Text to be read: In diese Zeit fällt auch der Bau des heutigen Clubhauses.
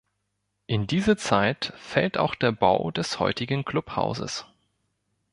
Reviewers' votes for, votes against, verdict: 2, 0, accepted